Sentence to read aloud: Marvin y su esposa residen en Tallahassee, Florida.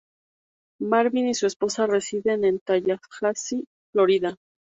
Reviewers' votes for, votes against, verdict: 8, 2, accepted